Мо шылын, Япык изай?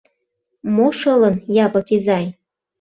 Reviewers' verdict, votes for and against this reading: accepted, 2, 0